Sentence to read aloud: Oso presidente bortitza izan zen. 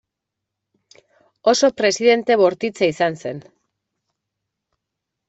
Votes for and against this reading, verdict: 2, 0, accepted